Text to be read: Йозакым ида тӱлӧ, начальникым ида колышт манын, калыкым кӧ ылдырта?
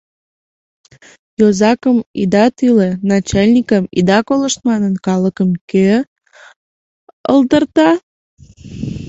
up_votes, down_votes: 2, 0